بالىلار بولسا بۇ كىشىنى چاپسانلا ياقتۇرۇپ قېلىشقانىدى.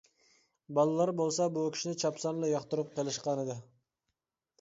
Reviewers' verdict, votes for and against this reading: accepted, 2, 0